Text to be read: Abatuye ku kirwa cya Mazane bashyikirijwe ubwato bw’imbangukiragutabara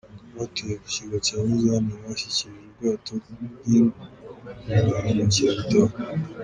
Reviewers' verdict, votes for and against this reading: rejected, 0, 2